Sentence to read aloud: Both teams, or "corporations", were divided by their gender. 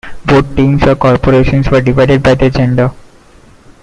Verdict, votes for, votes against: accepted, 2, 0